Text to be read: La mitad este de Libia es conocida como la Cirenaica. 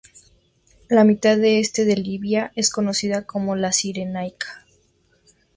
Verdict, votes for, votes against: rejected, 2, 2